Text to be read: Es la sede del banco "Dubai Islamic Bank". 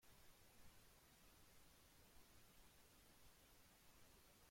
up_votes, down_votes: 0, 2